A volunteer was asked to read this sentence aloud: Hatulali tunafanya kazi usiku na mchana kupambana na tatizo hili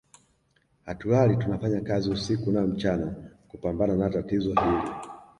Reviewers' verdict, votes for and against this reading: accepted, 2, 0